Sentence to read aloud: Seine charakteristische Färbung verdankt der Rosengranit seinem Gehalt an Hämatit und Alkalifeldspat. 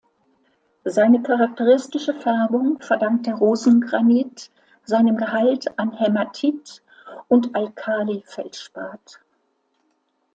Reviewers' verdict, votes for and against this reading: accepted, 2, 0